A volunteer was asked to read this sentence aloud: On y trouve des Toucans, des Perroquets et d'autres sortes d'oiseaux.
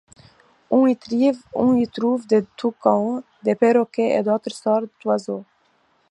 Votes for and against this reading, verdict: 1, 2, rejected